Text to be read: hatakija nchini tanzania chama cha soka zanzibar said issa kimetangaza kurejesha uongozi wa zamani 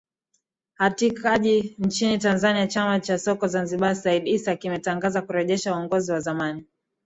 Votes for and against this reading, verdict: 5, 3, accepted